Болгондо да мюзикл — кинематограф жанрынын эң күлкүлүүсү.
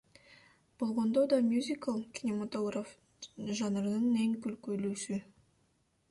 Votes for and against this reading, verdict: 2, 1, accepted